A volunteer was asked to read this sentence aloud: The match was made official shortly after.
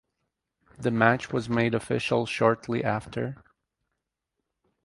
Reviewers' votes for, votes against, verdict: 4, 0, accepted